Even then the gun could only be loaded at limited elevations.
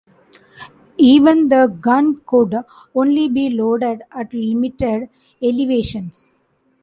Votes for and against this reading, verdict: 1, 2, rejected